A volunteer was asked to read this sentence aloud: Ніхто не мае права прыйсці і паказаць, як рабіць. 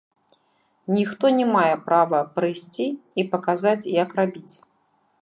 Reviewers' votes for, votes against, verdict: 1, 2, rejected